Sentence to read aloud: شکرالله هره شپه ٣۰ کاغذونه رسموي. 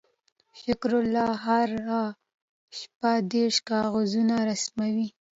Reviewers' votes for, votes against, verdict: 0, 2, rejected